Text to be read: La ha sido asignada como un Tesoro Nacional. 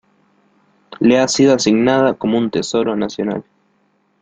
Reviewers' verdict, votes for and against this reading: rejected, 0, 2